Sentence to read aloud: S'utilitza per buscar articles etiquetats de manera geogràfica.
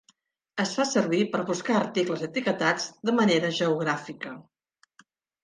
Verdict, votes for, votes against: rejected, 0, 2